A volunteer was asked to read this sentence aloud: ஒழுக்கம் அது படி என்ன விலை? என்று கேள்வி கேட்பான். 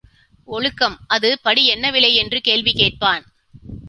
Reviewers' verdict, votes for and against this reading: accepted, 3, 1